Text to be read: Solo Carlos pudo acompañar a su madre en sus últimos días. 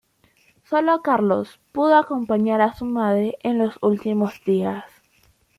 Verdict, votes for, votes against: rejected, 0, 2